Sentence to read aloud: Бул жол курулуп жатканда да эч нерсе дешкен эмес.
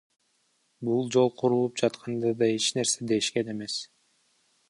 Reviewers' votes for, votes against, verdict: 1, 2, rejected